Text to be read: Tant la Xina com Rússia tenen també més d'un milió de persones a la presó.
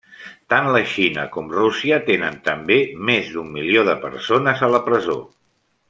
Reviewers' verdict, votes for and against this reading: accepted, 3, 0